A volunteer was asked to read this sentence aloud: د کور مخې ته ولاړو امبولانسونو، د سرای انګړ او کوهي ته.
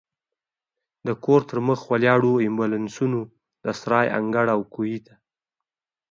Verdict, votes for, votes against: rejected, 0, 2